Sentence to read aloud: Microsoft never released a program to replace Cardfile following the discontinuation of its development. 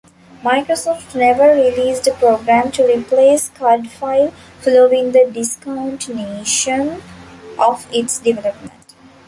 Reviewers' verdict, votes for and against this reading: accepted, 2, 0